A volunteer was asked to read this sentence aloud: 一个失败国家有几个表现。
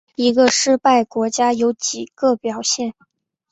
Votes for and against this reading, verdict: 3, 0, accepted